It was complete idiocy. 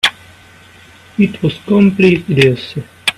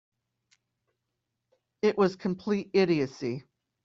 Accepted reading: second